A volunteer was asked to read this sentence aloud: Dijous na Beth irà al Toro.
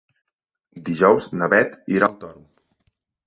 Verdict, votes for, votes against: accepted, 2, 0